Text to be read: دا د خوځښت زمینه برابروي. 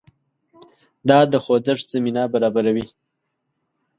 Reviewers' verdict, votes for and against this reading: accepted, 2, 0